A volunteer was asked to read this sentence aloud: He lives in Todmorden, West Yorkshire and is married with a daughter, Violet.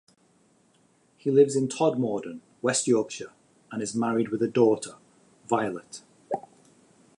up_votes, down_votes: 2, 0